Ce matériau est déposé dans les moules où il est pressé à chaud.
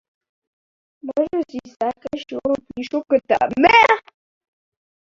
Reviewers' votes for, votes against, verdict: 0, 2, rejected